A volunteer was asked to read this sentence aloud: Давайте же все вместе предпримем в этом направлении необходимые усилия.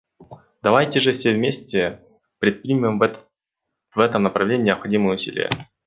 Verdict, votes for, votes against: rejected, 0, 2